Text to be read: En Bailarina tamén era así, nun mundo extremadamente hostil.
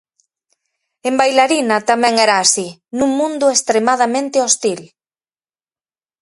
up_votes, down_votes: 4, 0